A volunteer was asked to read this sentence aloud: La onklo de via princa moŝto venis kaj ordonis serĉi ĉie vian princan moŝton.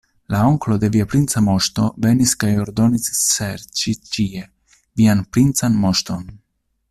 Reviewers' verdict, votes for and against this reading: accepted, 2, 0